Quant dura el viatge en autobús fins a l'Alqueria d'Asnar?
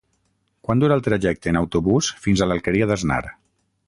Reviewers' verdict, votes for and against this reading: rejected, 3, 6